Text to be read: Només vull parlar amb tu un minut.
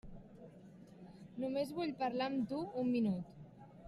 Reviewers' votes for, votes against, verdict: 3, 0, accepted